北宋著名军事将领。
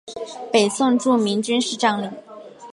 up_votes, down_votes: 7, 1